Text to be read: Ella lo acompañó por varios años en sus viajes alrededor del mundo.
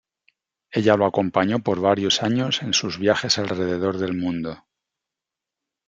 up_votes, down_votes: 2, 0